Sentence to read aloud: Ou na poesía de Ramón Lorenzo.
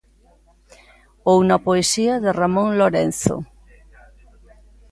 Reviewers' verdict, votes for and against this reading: accepted, 2, 0